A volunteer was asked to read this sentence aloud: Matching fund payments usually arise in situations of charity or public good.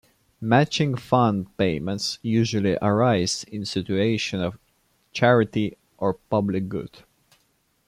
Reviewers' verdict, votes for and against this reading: accepted, 2, 1